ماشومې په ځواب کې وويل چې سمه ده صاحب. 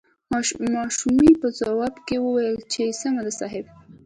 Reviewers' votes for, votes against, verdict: 2, 1, accepted